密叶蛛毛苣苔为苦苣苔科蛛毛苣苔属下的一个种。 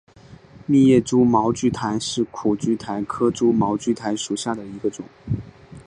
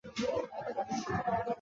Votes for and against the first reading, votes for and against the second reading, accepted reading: 2, 0, 0, 2, first